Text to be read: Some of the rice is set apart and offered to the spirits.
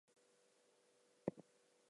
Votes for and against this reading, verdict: 0, 2, rejected